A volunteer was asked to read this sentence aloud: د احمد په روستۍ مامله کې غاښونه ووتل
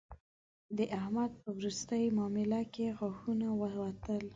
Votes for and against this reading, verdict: 2, 0, accepted